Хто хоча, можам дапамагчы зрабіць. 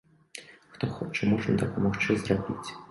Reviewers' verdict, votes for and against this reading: rejected, 1, 2